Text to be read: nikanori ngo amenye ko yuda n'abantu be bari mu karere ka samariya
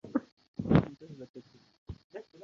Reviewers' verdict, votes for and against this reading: rejected, 0, 2